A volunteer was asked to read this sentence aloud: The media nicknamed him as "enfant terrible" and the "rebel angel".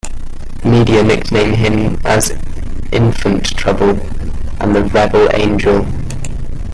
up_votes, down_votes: 0, 2